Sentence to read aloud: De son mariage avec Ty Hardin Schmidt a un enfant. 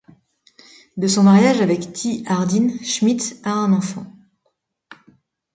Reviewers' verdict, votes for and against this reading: accepted, 2, 0